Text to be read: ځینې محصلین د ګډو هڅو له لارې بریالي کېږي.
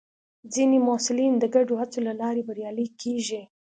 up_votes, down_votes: 2, 0